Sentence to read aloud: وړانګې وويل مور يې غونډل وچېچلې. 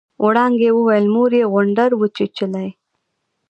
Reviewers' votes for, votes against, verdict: 2, 1, accepted